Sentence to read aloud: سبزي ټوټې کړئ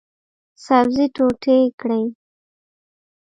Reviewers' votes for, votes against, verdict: 2, 1, accepted